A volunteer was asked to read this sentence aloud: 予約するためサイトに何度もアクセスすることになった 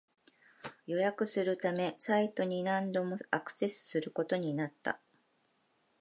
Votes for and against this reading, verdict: 3, 1, accepted